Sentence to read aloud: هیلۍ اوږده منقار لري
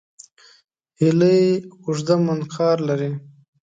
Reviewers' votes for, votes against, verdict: 2, 0, accepted